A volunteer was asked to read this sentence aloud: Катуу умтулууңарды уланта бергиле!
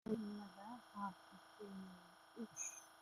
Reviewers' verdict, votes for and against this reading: rejected, 0, 2